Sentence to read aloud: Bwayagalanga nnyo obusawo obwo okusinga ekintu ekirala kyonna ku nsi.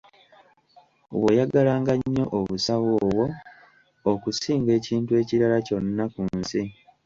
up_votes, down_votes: 0, 2